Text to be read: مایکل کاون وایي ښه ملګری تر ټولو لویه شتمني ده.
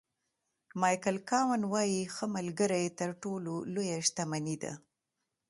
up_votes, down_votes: 2, 0